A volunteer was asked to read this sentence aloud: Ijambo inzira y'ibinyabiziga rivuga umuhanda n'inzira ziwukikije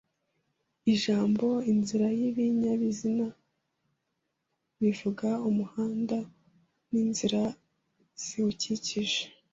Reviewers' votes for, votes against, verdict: 1, 2, rejected